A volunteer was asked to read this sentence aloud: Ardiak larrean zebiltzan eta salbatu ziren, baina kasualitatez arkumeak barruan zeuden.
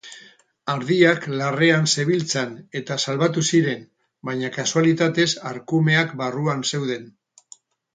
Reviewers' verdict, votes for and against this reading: rejected, 2, 2